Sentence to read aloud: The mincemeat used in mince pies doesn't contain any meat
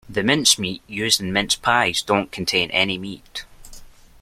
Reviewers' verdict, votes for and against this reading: rejected, 0, 2